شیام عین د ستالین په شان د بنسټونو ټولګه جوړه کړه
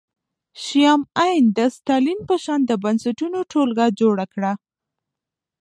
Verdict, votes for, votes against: rejected, 0, 2